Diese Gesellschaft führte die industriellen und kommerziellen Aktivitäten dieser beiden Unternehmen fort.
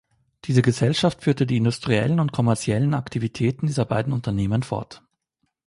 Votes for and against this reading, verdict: 2, 0, accepted